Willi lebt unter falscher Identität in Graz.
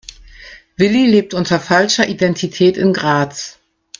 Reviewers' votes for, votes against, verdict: 2, 0, accepted